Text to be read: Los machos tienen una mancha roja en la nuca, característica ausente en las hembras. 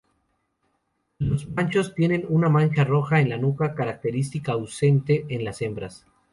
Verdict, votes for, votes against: accepted, 2, 0